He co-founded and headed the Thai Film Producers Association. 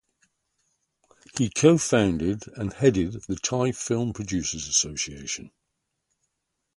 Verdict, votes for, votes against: rejected, 0, 3